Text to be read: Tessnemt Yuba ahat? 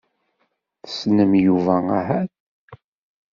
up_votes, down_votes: 0, 2